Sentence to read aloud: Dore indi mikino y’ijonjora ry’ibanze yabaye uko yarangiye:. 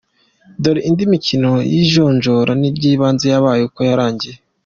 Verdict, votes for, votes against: accepted, 2, 0